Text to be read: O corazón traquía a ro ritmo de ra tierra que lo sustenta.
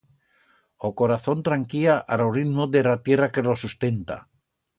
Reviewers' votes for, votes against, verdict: 1, 2, rejected